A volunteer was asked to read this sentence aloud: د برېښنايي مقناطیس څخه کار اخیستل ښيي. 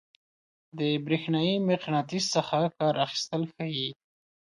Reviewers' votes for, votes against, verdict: 2, 0, accepted